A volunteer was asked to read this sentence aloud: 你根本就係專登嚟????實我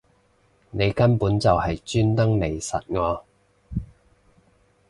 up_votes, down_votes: 2, 0